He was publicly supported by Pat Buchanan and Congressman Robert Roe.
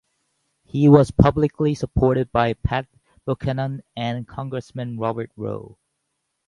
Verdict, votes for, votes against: accepted, 2, 0